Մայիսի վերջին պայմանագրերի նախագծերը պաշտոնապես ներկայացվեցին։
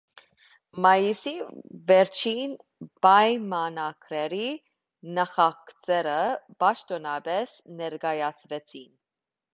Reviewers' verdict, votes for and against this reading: accepted, 2, 0